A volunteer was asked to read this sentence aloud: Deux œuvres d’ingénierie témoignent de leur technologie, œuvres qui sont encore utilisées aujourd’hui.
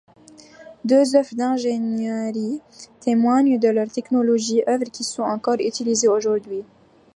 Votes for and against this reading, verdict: 0, 2, rejected